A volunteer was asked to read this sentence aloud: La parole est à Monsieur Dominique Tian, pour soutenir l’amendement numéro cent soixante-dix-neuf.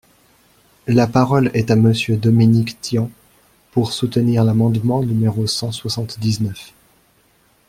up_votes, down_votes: 2, 0